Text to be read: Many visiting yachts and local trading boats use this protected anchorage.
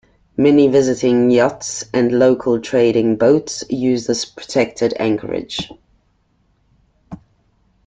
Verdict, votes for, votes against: accepted, 2, 0